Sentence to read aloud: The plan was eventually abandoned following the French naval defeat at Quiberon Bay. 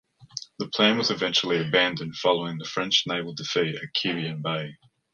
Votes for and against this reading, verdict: 2, 0, accepted